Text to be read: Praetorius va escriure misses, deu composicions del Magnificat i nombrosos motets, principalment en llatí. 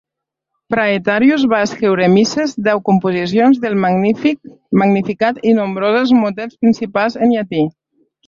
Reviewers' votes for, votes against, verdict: 1, 2, rejected